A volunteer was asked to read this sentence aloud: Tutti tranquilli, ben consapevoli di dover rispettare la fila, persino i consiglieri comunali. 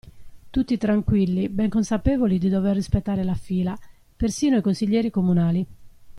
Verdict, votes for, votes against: accepted, 2, 0